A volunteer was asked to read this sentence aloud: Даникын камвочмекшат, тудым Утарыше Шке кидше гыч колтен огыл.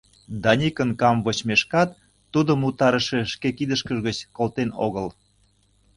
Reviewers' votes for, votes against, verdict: 0, 2, rejected